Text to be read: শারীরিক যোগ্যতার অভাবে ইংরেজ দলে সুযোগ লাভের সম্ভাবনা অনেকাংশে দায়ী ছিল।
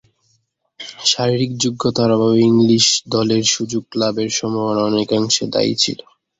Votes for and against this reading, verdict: 2, 7, rejected